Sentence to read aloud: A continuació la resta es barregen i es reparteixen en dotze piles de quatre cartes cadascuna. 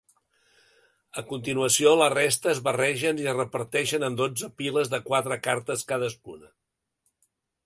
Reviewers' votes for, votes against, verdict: 2, 0, accepted